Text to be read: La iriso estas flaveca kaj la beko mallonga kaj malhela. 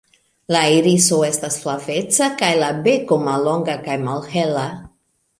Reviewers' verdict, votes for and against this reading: accepted, 2, 0